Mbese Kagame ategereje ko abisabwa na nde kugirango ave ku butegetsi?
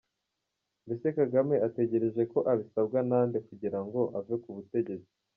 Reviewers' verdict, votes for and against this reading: accepted, 3, 0